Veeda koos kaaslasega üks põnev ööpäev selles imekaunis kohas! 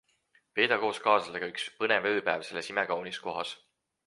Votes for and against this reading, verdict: 4, 0, accepted